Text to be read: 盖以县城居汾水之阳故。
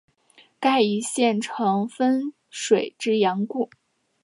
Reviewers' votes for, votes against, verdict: 1, 2, rejected